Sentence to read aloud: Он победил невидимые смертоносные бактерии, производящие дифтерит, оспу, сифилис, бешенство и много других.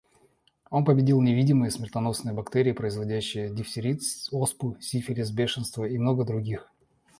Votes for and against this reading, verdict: 1, 2, rejected